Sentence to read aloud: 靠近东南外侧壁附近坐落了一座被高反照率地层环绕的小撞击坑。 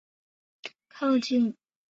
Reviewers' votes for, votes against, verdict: 0, 3, rejected